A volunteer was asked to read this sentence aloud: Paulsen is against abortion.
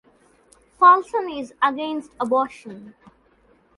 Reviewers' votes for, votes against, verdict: 2, 0, accepted